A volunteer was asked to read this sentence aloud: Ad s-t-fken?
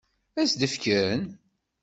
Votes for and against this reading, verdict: 0, 2, rejected